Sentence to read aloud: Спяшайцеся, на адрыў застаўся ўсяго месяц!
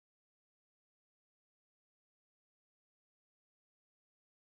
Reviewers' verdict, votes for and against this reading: rejected, 1, 2